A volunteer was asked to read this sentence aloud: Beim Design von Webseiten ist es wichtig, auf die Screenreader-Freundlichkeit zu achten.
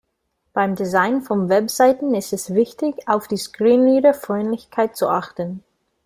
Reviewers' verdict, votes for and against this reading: rejected, 1, 2